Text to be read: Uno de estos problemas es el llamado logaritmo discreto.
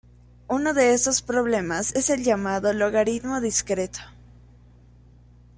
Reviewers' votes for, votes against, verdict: 2, 0, accepted